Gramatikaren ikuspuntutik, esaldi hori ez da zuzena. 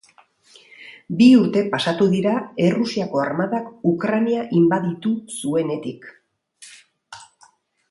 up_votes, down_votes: 0, 2